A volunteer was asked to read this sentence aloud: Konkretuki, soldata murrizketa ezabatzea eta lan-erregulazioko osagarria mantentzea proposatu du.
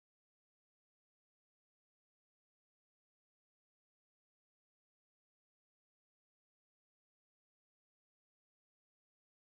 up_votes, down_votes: 0, 2